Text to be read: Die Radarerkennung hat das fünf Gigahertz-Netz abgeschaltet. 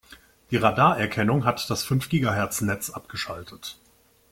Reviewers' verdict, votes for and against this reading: accepted, 3, 0